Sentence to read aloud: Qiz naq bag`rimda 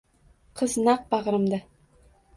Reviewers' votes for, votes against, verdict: 2, 0, accepted